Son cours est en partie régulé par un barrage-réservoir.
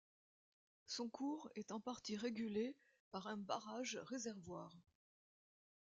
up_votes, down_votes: 2, 0